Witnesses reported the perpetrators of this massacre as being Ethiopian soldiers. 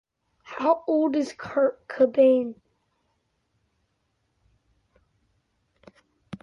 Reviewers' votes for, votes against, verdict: 0, 2, rejected